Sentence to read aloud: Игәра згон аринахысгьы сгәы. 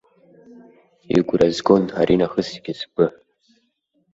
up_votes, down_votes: 2, 0